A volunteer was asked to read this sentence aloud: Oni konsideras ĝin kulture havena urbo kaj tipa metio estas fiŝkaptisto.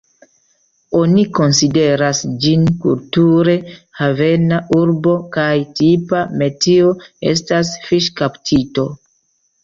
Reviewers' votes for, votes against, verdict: 0, 2, rejected